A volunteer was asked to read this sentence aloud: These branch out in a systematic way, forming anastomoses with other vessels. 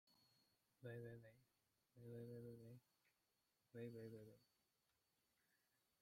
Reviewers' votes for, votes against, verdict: 0, 2, rejected